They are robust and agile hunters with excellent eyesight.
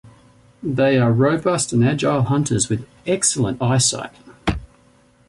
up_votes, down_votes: 2, 1